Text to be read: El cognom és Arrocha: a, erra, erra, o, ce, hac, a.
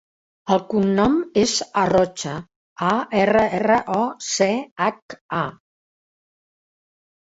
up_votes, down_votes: 3, 0